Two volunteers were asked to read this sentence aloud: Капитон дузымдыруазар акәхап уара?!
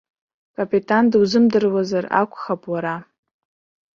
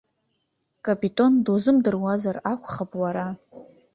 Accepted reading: second